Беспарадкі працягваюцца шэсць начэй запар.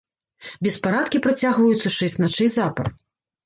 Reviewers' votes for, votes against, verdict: 0, 2, rejected